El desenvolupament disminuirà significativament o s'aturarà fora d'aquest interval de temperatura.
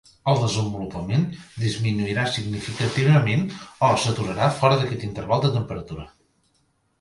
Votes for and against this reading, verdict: 2, 0, accepted